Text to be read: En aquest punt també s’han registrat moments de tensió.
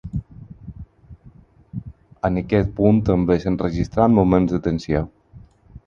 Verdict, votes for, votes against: accepted, 4, 0